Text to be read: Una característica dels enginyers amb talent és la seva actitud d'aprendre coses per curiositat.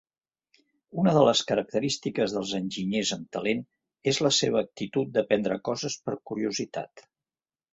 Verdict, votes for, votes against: rejected, 0, 2